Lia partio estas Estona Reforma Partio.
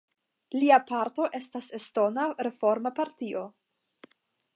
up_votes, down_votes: 0, 5